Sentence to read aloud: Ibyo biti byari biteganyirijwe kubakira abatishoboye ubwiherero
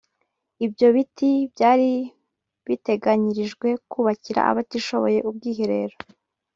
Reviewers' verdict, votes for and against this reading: rejected, 0, 2